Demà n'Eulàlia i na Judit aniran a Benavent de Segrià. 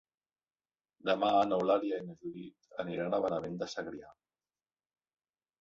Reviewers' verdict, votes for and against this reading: rejected, 2, 3